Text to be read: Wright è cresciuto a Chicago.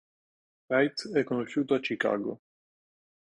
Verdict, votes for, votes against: rejected, 1, 2